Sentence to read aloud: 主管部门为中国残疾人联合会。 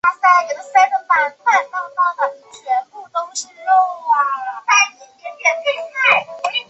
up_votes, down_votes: 0, 2